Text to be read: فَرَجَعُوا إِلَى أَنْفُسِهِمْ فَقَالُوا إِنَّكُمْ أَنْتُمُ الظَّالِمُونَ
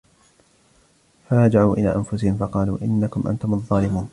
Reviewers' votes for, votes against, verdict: 0, 2, rejected